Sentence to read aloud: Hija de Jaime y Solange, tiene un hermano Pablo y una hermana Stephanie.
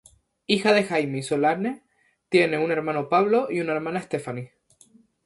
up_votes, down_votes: 0, 2